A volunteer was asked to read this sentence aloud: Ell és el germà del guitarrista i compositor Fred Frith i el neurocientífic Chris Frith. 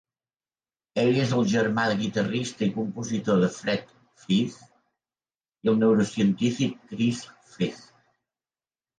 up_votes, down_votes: 0, 3